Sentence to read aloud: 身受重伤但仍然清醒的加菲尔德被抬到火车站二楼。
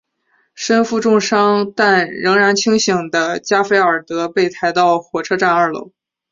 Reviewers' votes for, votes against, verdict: 4, 0, accepted